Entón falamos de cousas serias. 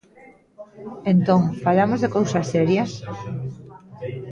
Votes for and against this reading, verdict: 1, 2, rejected